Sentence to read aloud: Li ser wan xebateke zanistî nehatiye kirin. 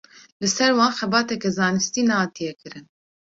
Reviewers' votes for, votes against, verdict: 2, 0, accepted